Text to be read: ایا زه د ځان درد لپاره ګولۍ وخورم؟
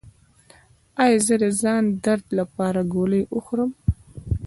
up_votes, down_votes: 2, 0